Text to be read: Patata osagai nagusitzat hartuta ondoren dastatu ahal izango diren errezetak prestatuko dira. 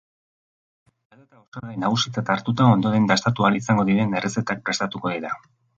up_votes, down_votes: 1, 2